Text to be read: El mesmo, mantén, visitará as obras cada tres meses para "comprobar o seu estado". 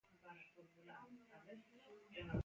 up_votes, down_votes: 0, 2